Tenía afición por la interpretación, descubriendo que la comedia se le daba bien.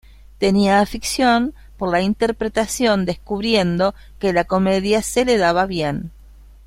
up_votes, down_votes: 1, 2